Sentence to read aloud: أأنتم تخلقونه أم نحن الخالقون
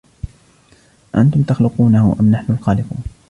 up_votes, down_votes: 2, 0